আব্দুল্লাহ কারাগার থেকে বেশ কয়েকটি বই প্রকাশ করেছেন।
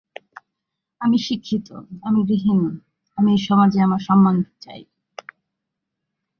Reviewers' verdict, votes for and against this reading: rejected, 0, 3